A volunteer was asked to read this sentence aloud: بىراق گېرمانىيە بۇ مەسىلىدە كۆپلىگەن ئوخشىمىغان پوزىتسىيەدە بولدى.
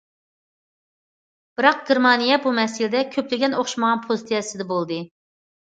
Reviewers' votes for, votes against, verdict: 0, 2, rejected